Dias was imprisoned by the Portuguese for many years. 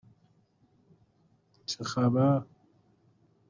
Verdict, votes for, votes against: rejected, 1, 2